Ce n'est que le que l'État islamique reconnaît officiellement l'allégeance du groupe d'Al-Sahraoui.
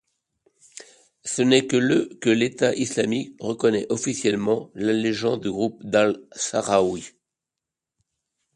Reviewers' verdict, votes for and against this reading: accepted, 2, 0